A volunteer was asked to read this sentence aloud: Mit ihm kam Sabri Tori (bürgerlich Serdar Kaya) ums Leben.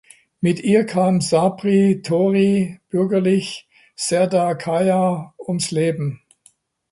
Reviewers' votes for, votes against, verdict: 0, 2, rejected